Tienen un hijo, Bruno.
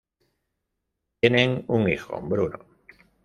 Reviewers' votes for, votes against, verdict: 0, 2, rejected